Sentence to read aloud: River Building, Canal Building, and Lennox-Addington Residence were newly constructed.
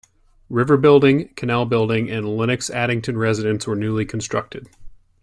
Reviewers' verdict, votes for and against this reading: accepted, 2, 0